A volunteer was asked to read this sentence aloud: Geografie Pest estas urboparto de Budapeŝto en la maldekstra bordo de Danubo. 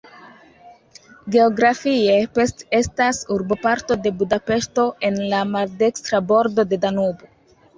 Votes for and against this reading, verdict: 1, 2, rejected